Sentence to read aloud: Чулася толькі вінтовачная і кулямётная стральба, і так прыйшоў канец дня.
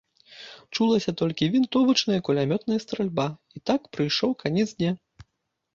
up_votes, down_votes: 0, 2